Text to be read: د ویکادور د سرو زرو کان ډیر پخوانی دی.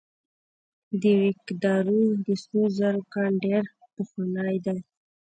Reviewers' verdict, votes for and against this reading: rejected, 1, 2